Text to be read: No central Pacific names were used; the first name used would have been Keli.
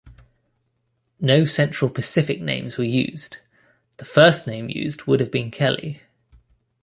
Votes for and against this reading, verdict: 2, 0, accepted